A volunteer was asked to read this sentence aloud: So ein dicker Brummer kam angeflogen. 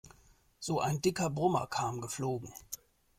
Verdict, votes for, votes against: rejected, 0, 2